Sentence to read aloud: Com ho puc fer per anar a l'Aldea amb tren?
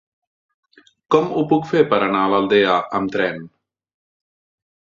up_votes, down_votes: 3, 1